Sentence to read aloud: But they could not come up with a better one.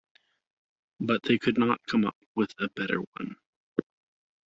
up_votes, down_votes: 0, 2